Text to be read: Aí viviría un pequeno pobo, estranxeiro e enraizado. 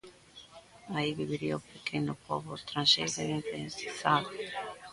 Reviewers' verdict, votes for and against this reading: rejected, 0, 2